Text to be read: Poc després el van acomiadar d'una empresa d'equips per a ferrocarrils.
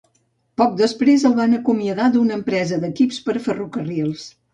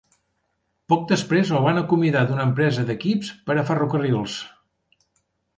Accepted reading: second